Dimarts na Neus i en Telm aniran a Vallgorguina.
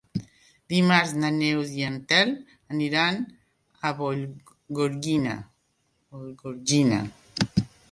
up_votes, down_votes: 1, 2